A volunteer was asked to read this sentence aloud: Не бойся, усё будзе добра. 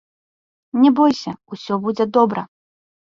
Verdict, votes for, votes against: accepted, 2, 0